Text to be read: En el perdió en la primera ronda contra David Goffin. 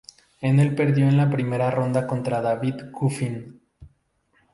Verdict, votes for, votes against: accepted, 2, 0